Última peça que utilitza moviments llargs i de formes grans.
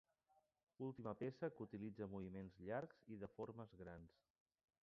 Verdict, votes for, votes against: accepted, 2, 0